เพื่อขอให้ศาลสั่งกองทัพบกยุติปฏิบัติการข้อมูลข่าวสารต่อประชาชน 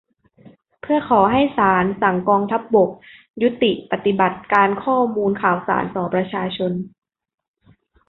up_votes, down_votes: 2, 0